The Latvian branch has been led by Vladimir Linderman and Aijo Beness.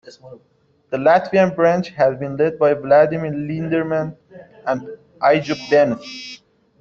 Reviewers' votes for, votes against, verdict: 1, 2, rejected